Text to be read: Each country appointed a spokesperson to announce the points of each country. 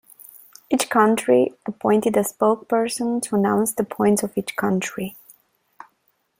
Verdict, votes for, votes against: accepted, 3, 2